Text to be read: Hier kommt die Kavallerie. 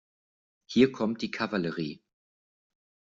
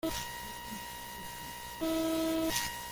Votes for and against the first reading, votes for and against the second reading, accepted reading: 2, 0, 0, 2, first